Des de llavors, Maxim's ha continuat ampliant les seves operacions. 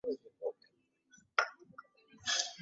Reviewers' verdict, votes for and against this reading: rejected, 0, 2